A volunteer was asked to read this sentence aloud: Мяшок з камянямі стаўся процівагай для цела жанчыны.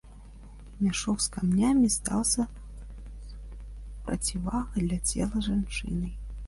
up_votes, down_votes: 2, 1